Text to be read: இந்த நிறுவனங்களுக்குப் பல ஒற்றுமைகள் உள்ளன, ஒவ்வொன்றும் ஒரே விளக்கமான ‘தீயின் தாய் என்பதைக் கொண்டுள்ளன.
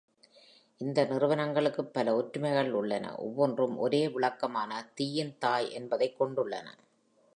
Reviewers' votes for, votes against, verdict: 2, 0, accepted